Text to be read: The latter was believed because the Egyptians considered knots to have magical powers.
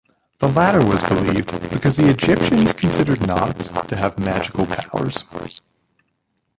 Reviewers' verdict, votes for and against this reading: rejected, 1, 3